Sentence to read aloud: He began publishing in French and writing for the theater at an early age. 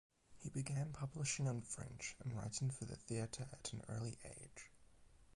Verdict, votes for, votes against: accepted, 8, 4